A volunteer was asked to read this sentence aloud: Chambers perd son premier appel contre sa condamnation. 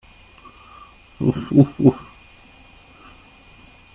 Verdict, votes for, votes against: rejected, 0, 2